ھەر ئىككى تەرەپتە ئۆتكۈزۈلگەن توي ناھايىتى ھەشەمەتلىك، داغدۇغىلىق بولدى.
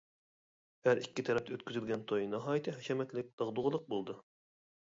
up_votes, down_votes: 1, 2